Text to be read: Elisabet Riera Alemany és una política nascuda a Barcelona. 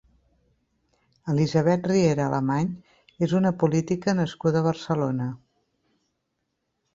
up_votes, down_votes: 2, 0